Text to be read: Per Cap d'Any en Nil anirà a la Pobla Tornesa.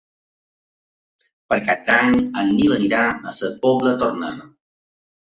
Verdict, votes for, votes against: rejected, 1, 2